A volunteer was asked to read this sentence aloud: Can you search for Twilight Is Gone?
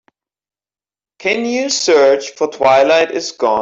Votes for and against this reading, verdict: 0, 2, rejected